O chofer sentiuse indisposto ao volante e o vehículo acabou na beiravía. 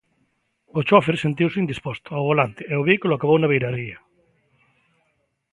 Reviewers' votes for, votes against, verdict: 1, 2, rejected